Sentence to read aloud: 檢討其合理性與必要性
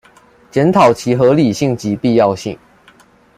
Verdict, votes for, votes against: rejected, 1, 2